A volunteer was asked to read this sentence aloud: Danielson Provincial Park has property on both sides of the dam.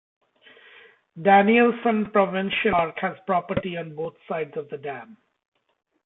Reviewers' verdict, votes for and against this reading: rejected, 0, 2